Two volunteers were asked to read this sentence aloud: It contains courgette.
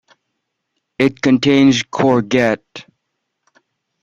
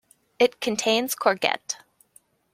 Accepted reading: second